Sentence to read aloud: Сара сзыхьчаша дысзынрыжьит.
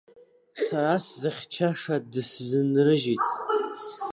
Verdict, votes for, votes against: accepted, 2, 1